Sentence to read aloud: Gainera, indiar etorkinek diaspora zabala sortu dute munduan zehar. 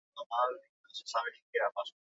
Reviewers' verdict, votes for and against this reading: rejected, 0, 4